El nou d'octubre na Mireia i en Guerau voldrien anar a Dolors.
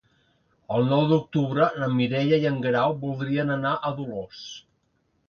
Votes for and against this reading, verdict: 2, 0, accepted